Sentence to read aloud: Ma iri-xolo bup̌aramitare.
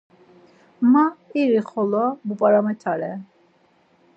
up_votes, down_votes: 4, 0